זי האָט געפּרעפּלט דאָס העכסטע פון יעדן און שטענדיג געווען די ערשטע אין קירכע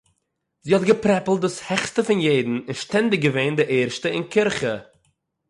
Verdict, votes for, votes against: accepted, 6, 0